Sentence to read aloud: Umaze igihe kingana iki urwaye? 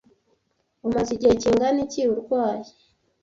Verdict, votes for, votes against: accepted, 2, 0